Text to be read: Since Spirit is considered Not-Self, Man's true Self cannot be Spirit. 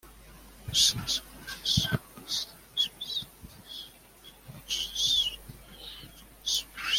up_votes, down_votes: 0, 2